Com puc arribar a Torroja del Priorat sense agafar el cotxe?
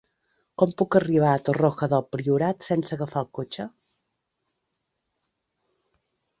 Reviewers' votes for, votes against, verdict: 0, 2, rejected